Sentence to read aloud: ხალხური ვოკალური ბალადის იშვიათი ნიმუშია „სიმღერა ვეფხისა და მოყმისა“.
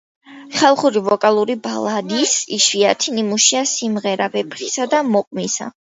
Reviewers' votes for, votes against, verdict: 2, 0, accepted